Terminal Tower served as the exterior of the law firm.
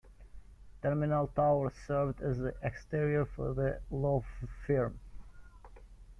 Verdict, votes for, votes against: rejected, 1, 2